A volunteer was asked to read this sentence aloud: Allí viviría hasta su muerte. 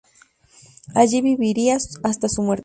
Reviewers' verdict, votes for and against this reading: rejected, 0, 2